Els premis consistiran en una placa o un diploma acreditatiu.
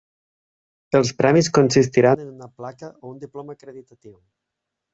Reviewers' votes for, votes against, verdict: 0, 2, rejected